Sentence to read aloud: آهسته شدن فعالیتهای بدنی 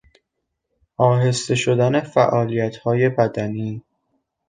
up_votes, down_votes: 2, 0